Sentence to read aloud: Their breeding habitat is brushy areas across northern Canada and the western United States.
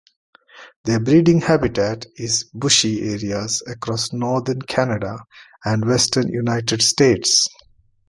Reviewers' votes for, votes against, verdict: 0, 2, rejected